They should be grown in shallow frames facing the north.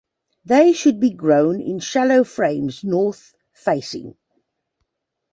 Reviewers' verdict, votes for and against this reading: rejected, 0, 2